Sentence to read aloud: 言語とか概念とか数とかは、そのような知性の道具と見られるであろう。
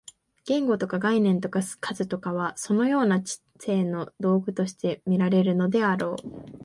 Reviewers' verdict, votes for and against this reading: rejected, 0, 2